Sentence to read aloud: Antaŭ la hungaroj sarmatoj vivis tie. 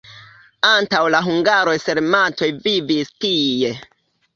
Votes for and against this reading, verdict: 2, 0, accepted